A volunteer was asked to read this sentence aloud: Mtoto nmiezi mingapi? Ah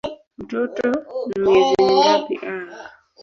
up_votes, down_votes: 1, 4